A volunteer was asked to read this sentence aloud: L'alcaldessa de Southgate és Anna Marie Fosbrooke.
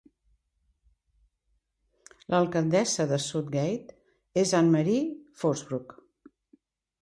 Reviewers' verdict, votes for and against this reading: rejected, 1, 2